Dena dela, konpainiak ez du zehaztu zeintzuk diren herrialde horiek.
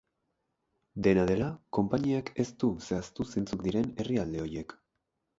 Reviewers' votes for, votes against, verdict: 2, 2, rejected